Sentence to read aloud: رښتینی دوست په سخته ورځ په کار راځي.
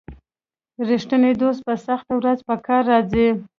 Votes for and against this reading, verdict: 2, 0, accepted